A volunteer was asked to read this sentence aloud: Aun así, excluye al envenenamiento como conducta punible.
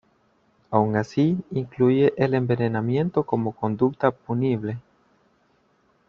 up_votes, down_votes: 0, 2